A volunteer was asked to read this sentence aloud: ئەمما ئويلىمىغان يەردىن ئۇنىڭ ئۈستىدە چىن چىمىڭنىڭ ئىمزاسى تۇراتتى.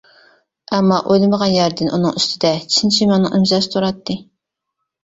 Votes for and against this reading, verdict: 1, 2, rejected